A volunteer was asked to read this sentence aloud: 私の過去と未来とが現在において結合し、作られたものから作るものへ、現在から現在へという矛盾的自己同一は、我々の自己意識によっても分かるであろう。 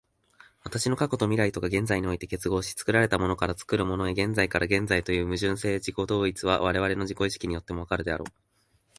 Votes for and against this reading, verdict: 6, 1, accepted